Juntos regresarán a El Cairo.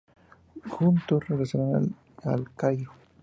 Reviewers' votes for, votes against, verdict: 0, 2, rejected